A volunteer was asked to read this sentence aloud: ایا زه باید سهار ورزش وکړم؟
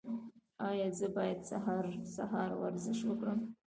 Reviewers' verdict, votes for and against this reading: accepted, 2, 0